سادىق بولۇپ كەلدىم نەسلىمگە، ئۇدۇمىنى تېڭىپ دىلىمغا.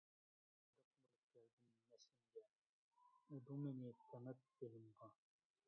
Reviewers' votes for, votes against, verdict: 0, 2, rejected